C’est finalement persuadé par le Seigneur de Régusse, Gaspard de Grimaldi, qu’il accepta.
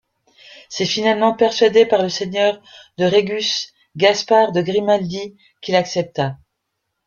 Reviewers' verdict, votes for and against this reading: accepted, 2, 0